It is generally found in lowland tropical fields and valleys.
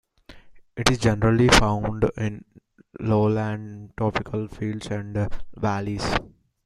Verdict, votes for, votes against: rejected, 1, 2